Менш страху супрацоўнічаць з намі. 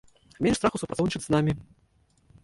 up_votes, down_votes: 0, 2